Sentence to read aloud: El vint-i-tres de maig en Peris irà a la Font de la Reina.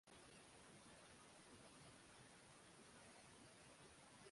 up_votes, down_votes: 0, 2